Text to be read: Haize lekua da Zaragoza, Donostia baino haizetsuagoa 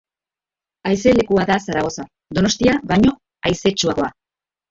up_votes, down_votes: 2, 0